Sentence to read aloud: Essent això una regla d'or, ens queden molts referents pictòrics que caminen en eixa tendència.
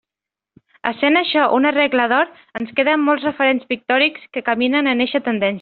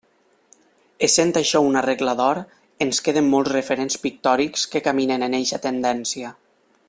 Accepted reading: second